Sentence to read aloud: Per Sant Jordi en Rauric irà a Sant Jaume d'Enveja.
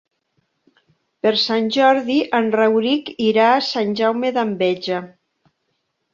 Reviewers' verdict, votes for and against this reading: accepted, 3, 0